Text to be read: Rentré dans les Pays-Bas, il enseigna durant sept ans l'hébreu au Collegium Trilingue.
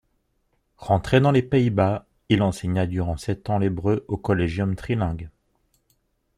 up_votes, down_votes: 2, 0